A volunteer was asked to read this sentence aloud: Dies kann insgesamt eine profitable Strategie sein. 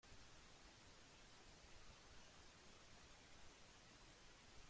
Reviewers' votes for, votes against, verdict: 0, 2, rejected